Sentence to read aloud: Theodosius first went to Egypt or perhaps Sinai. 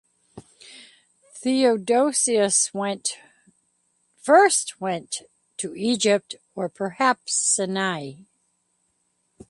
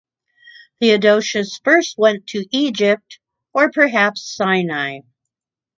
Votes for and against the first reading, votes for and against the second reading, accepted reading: 1, 2, 2, 0, second